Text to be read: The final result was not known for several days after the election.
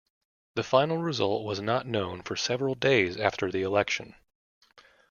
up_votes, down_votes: 2, 0